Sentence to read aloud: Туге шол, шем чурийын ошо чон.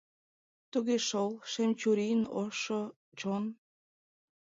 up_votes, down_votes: 0, 2